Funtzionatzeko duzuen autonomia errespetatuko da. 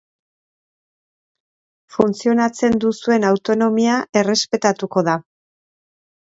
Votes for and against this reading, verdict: 0, 3, rejected